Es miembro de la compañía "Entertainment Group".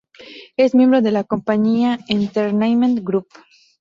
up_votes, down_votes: 0, 2